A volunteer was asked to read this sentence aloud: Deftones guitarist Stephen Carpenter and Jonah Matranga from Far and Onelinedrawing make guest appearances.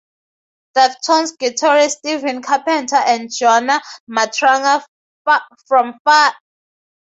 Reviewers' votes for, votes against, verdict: 0, 2, rejected